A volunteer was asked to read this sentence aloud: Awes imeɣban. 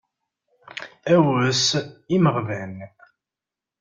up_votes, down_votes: 2, 0